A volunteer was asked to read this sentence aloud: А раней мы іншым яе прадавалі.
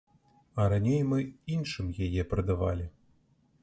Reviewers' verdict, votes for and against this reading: accepted, 2, 0